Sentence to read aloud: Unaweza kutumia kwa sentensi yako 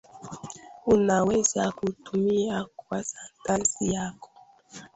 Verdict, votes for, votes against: accepted, 2, 1